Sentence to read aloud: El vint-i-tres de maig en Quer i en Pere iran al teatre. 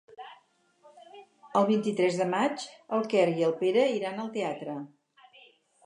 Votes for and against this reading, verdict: 0, 4, rejected